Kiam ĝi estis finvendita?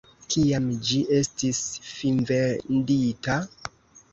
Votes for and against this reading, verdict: 2, 1, accepted